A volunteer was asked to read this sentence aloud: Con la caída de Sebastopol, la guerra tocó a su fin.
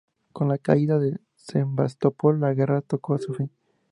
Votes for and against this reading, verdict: 2, 0, accepted